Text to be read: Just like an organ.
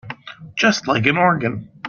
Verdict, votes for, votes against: accepted, 2, 0